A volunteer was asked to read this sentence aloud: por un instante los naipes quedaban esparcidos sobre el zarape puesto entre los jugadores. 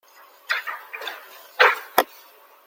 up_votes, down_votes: 0, 2